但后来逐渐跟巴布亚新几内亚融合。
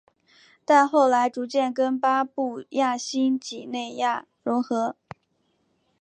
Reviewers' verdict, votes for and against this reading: accepted, 2, 1